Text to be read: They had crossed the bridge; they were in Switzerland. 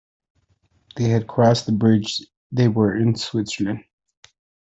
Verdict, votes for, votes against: rejected, 1, 2